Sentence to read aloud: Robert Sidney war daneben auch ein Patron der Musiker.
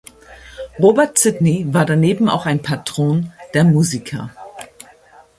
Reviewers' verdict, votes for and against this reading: accepted, 2, 0